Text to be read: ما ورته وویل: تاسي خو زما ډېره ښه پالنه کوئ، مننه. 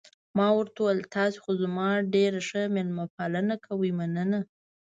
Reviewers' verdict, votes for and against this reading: rejected, 1, 2